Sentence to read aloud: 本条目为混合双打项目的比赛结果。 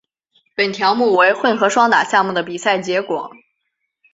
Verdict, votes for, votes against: accepted, 2, 0